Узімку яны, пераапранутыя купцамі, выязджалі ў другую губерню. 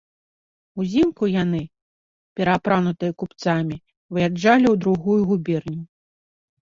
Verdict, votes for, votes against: rejected, 0, 2